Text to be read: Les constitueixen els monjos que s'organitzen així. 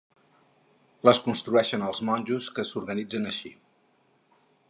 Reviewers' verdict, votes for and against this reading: rejected, 0, 4